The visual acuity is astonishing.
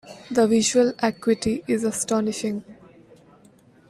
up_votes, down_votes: 2, 1